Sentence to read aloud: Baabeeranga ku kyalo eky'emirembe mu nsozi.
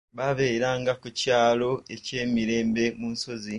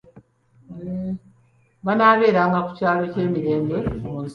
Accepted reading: first